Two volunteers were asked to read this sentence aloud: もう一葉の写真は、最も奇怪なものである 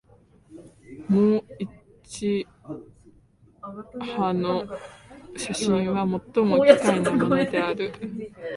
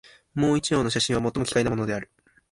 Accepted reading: second